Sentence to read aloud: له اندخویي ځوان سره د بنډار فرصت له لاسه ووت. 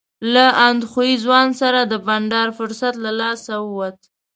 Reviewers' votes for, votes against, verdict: 2, 0, accepted